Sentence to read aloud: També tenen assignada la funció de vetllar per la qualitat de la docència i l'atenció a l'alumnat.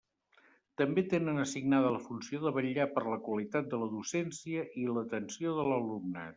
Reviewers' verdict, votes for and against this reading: rejected, 0, 2